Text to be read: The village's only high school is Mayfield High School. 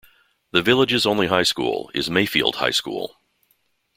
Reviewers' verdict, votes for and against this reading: accepted, 2, 0